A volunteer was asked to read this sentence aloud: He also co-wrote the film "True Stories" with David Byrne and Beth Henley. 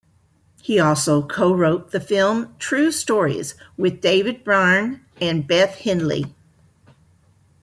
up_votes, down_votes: 2, 0